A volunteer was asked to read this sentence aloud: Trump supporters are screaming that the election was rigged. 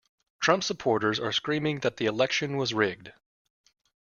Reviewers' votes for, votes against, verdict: 2, 0, accepted